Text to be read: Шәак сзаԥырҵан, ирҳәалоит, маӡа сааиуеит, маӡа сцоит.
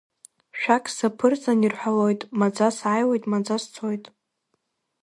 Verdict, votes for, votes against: rejected, 1, 2